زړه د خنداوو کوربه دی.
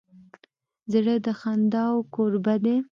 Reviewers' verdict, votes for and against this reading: accepted, 2, 0